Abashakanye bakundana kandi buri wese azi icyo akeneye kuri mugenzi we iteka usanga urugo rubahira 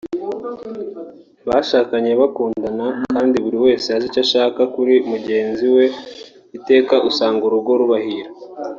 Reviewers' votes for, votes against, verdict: 0, 2, rejected